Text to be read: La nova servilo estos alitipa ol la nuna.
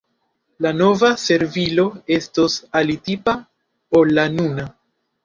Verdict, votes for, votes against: accepted, 2, 1